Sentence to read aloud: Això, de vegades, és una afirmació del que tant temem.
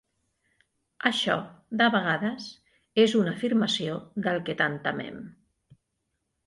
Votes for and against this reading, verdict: 2, 0, accepted